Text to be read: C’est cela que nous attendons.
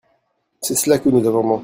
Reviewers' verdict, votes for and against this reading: rejected, 1, 2